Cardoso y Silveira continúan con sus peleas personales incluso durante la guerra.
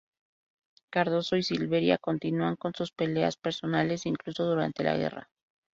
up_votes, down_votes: 0, 2